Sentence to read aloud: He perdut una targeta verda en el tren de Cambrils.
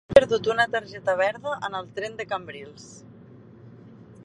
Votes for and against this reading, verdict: 0, 2, rejected